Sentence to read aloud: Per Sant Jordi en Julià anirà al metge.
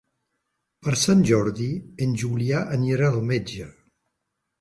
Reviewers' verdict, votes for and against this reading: accepted, 3, 0